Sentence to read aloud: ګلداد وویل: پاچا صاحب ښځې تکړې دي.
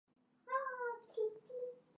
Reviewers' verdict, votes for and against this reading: rejected, 1, 2